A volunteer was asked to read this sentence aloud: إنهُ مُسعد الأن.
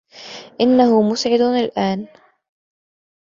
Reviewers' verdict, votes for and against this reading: accepted, 2, 0